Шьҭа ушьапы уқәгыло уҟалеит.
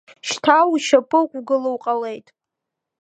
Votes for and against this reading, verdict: 2, 1, accepted